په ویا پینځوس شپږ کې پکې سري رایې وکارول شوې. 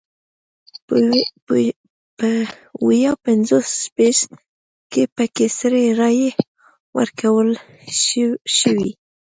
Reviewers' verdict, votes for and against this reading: rejected, 0, 2